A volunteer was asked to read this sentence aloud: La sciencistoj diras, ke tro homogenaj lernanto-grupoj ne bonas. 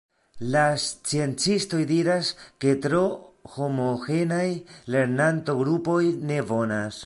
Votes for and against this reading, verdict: 1, 2, rejected